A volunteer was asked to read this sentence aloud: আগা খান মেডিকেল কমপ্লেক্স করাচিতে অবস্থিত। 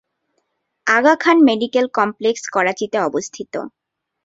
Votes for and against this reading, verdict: 2, 0, accepted